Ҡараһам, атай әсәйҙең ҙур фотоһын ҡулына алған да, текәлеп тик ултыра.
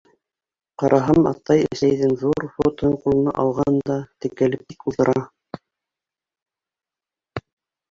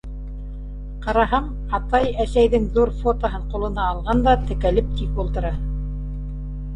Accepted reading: second